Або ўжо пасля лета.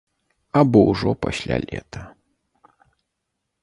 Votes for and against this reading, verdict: 2, 0, accepted